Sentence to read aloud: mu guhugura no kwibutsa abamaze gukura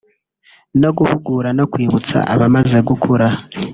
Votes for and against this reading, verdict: 1, 2, rejected